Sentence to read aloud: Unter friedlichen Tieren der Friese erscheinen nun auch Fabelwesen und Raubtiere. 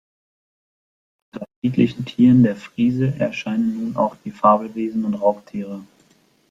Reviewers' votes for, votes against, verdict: 0, 2, rejected